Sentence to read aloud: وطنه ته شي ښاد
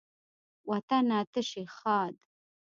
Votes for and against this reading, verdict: 1, 2, rejected